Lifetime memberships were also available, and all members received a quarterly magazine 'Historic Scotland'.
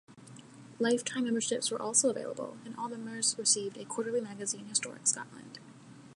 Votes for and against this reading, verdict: 0, 2, rejected